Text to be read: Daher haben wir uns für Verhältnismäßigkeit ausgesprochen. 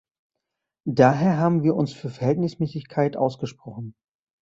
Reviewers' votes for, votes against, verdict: 2, 0, accepted